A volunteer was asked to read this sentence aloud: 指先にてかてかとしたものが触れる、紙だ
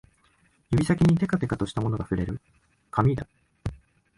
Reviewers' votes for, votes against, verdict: 2, 0, accepted